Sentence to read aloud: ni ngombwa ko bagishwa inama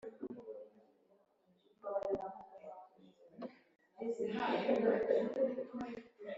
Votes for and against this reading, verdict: 0, 2, rejected